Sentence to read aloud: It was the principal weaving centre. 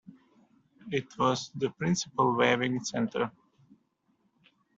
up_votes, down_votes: 0, 2